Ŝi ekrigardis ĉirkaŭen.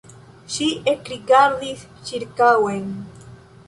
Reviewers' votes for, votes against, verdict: 2, 0, accepted